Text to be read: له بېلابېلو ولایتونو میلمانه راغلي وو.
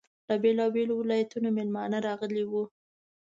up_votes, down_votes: 2, 0